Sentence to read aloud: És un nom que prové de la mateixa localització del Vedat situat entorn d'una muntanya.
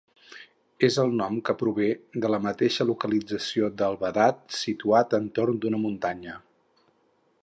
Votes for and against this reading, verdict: 0, 4, rejected